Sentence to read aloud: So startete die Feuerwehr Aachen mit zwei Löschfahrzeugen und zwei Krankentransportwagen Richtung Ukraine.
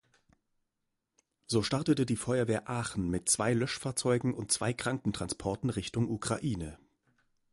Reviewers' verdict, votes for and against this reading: rejected, 1, 2